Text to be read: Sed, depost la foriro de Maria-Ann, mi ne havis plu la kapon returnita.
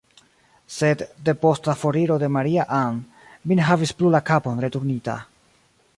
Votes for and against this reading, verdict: 0, 2, rejected